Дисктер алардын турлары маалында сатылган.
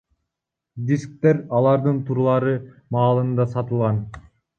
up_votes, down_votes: 1, 2